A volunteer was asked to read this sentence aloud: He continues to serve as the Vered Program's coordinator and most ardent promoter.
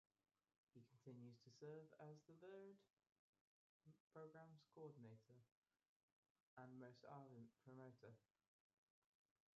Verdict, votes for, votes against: rejected, 0, 2